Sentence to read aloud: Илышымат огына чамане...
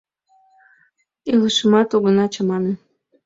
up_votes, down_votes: 2, 0